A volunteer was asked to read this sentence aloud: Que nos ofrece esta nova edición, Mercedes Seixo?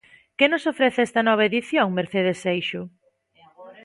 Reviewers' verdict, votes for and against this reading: accepted, 2, 1